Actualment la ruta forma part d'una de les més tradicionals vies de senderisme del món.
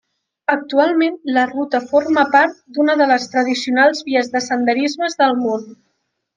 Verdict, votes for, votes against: rejected, 0, 2